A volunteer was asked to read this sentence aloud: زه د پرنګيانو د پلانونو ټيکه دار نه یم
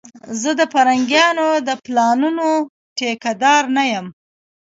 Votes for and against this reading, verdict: 2, 1, accepted